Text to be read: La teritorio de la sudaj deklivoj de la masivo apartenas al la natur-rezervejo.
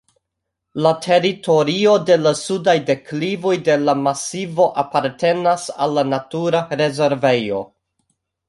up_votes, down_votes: 1, 2